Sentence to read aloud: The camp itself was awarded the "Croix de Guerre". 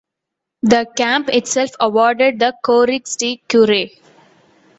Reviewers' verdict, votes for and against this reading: rejected, 0, 2